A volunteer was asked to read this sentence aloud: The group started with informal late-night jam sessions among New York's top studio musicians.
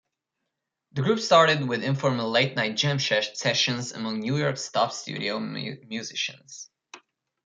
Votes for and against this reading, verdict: 1, 2, rejected